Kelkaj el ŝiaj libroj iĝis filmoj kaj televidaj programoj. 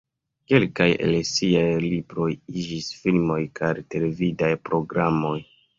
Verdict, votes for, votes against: rejected, 1, 2